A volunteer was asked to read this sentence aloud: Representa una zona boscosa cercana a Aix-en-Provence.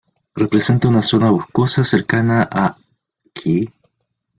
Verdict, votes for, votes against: rejected, 0, 2